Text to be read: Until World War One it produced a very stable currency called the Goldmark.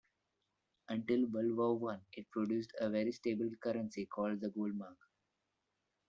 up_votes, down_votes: 1, 2